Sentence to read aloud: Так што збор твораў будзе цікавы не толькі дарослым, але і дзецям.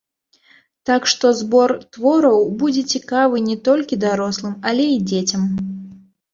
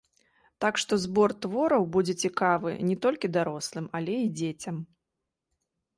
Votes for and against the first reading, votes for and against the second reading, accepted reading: 1, 2, 2, 0, second